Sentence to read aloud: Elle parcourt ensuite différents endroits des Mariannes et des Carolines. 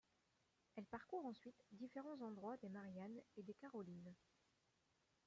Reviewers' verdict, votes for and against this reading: rejected, 1, 2